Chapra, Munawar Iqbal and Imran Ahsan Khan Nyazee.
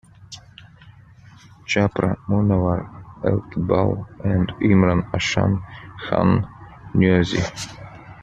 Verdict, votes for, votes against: rejected, 1, 2